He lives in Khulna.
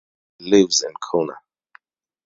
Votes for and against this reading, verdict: 4, 0, accepted